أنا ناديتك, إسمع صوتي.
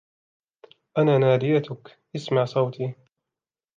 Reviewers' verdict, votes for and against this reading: rejected, 1, 2